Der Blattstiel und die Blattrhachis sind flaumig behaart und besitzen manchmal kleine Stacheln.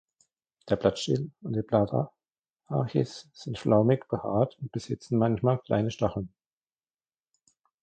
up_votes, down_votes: 0, 2